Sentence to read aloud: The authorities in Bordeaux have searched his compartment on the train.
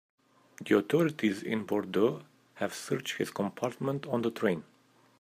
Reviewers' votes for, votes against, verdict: 2, 0, accepted